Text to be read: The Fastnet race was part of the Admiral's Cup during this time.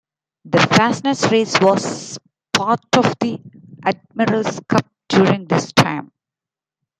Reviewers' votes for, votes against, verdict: 2, 0, accepted